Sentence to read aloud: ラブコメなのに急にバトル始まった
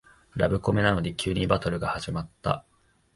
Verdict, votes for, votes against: rejected, 0, 2